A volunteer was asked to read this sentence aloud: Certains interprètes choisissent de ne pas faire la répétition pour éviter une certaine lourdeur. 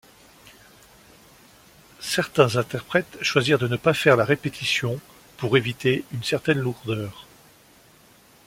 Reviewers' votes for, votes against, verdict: 1, 2, rejected